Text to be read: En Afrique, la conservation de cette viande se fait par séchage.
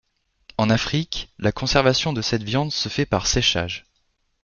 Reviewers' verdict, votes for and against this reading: accepted, 2, 0